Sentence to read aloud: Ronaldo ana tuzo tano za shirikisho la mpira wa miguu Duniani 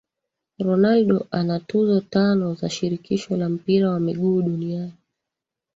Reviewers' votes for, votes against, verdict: 2, 1, accepted